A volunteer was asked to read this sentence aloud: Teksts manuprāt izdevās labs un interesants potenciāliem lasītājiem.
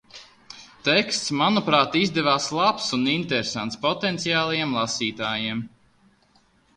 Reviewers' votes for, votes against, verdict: 1, 2, rejected